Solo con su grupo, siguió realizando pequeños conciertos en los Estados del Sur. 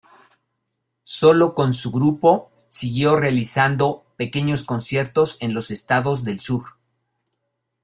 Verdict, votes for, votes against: accepted, 2, 0